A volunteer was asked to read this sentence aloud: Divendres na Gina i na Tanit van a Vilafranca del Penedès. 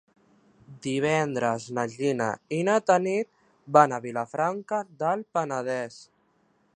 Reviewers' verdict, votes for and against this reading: accepted, 3, 0